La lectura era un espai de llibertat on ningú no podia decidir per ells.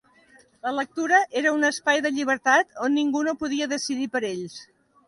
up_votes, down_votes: 2, 0